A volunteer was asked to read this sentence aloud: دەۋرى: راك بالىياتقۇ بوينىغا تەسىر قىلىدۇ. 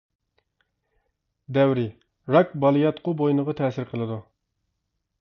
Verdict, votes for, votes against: accepted, 2, 0